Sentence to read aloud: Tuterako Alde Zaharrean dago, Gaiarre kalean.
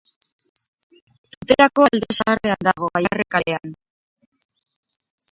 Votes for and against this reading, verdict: 2, 4, rejected